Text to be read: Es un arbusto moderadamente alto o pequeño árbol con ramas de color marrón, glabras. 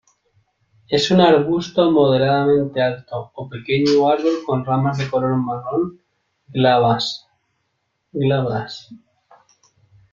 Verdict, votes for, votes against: accepted, 2, 0